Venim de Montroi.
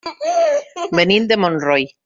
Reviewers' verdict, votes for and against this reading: rejected, 1, 2